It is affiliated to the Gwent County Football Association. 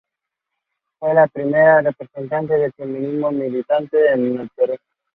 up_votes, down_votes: 0, 2